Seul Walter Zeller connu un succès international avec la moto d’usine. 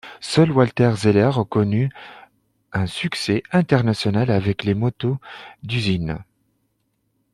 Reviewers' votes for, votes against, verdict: 1, 2, rejected